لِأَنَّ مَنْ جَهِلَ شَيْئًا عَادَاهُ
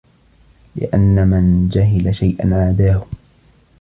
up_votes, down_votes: 0, 2